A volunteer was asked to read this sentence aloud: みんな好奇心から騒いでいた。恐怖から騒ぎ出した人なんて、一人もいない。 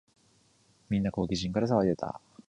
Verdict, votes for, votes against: rejected, 0, 2